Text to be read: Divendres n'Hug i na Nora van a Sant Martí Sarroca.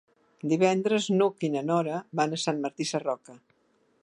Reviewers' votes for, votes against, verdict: 2, 0, accepted